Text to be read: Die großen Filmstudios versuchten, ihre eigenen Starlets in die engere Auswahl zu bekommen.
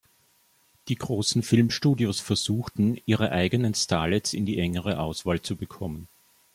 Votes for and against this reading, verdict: 2, 0, accepted